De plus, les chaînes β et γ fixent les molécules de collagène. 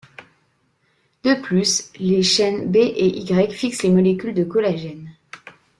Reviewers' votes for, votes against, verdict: 0, 2, rejected